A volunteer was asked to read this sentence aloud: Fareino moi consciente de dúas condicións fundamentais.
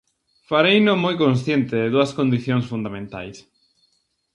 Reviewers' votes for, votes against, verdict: 2, 0, accepted